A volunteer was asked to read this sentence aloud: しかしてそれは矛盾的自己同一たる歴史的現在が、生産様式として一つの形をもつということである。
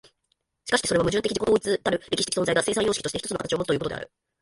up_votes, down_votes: 1, 2